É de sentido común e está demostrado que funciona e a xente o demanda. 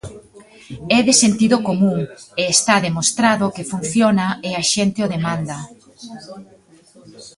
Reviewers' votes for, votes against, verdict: 1, 2, rejected